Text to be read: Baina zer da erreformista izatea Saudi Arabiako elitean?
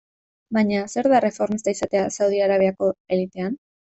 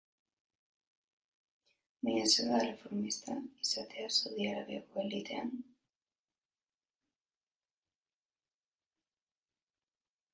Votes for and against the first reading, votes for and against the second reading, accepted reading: 2, 0, 1, 2, first